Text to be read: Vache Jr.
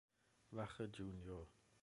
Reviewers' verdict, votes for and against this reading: rejected, 1, 2